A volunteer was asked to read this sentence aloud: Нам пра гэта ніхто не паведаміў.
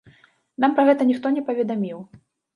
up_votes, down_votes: 1, 2